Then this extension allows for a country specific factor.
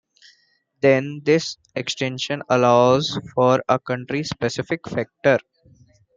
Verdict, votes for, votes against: accepted, 2, 0